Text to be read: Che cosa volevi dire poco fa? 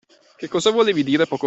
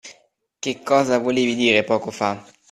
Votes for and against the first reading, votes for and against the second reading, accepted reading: 0, 2, 2, 0, second